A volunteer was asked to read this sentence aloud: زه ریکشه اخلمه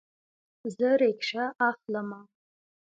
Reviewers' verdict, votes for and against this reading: rejected, 0, 2